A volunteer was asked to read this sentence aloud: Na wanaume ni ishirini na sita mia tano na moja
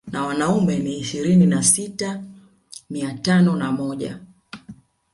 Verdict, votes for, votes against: accepted, 2, 0